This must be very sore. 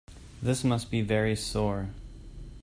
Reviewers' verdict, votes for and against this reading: accepted, 2, 0